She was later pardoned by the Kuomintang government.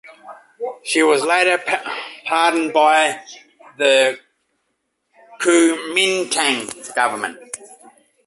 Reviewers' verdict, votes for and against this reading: rejected, 0, 2